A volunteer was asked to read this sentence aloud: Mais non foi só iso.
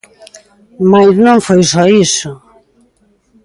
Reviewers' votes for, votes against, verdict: 1, 2, rejected